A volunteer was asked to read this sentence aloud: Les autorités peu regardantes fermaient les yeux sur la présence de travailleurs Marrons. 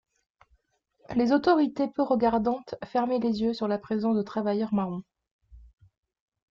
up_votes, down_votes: 2, 1